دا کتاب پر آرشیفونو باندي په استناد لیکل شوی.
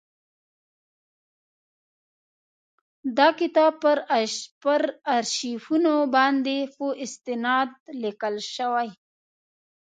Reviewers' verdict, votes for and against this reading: accepted, 4, 2